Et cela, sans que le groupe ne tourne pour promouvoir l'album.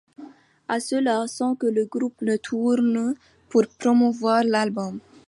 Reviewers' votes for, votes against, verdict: 2, 1, accepted